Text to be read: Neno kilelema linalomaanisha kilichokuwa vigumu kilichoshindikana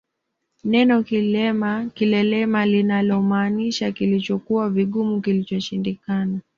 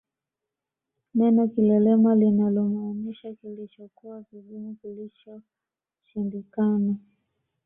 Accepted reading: first